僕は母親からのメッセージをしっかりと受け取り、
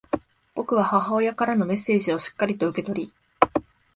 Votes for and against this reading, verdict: 2, 0, accepted